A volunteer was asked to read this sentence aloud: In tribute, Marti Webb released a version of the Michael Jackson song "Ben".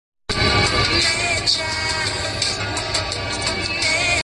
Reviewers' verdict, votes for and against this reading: rejected, 0, 2